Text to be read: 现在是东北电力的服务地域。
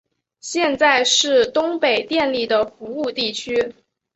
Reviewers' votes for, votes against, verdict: 2, 3, rejected